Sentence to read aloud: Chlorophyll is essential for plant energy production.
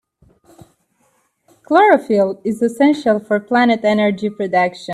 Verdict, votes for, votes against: accepted, 2, 1